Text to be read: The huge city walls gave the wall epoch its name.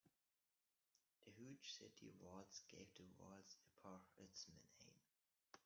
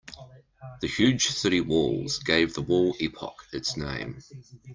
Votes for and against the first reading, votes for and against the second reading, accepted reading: 1, 2, 2, 0, second